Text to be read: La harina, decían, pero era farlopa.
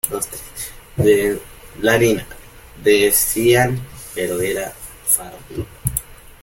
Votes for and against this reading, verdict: 0, 2, rejected